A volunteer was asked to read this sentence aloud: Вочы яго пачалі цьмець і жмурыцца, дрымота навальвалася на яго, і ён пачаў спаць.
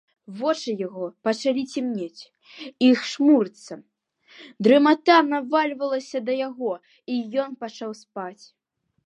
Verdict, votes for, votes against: rejected, 0, 2